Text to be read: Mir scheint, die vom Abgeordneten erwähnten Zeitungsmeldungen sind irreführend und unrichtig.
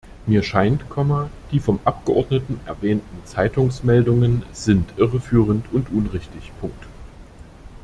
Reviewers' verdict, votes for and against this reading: rejected, 1, 2